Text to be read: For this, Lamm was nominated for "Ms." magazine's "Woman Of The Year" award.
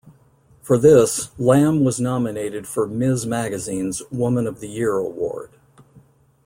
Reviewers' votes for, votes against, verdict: 2, 0, accepted